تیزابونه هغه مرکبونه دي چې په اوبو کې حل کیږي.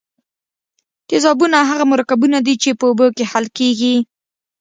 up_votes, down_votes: 2, 0